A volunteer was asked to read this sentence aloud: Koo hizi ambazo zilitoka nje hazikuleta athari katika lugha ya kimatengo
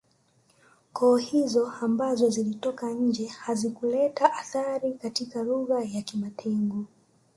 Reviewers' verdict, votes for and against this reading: rejected, 1, 2